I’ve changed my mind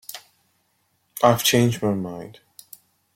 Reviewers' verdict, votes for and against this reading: accepted, 2, 0